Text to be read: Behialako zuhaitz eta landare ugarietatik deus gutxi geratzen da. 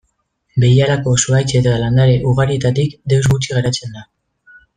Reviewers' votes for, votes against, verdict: 1, 2, rejected